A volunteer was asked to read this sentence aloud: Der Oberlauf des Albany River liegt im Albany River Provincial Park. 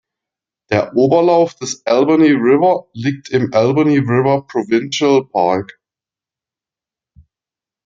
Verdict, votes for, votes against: accepted, 2, 0